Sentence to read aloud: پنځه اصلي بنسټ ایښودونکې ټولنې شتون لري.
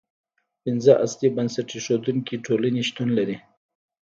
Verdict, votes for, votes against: rejected, 1, 2